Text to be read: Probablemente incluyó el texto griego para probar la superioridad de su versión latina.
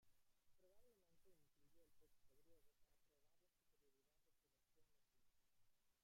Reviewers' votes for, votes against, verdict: 0, 2, rejected